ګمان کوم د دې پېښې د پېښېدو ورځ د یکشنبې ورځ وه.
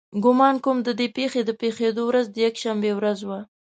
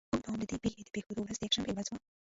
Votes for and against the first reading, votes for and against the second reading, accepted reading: 2, 0, 1, 2, first